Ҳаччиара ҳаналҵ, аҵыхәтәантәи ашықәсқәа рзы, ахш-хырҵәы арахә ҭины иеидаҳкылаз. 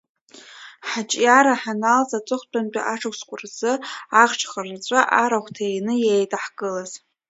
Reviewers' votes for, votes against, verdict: 1, 2, rejected